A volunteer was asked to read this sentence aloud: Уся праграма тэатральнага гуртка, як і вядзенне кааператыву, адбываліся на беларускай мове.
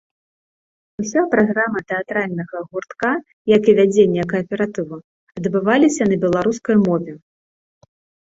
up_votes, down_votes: 2, 0